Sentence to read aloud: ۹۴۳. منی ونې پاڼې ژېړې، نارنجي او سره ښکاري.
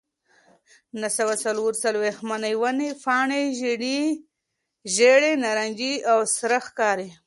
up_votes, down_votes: 0, 2